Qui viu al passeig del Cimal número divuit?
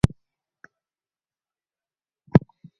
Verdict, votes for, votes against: rejected, 2, 6